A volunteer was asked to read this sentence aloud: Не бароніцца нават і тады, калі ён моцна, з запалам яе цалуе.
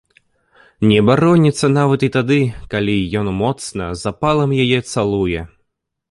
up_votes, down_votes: 2, 0